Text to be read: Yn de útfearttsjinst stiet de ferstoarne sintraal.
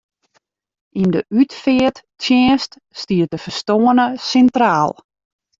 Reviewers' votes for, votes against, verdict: 2, 0, accepted